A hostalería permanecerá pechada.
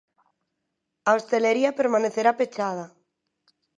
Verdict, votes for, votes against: rejected, 1, 2